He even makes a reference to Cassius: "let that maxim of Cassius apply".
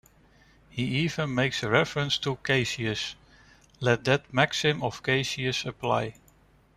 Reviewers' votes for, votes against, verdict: 1, 2, rejected